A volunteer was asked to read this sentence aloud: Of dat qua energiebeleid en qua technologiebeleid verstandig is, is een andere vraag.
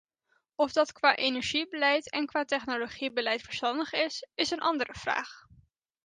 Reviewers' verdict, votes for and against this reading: accepted, 2, 0